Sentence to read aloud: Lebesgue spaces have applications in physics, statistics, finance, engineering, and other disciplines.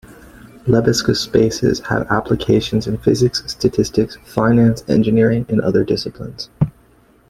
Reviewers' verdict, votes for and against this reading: accepted, 2, 0